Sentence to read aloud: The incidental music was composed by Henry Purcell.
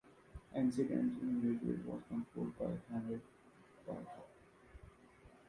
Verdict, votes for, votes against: rejected, 0, 2